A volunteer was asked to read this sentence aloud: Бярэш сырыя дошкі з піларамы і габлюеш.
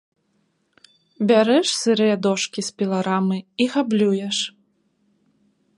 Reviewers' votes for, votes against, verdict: 2, 0, accepted